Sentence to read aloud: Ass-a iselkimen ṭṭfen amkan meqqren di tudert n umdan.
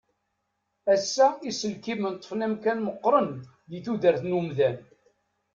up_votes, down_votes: 2, 0